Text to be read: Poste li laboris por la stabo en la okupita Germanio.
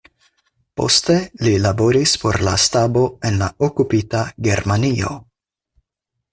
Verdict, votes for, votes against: accepted, 4, 0